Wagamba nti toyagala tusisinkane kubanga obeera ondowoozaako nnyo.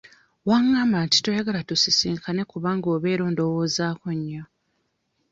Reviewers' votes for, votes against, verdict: 1, 2, rejected